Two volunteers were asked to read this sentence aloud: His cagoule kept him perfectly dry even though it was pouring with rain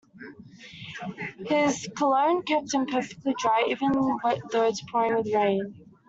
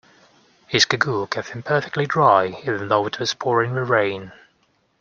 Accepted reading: second